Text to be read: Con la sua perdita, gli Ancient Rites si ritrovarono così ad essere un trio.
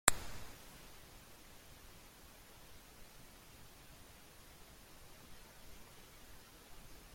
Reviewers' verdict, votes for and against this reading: rejected, 0, 2